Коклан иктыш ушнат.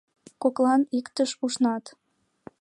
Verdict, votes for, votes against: accepted, 2, 1